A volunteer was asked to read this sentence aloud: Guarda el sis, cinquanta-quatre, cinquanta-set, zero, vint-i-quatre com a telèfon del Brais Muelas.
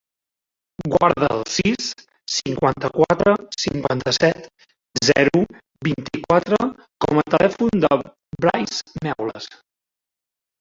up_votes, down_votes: 0, 2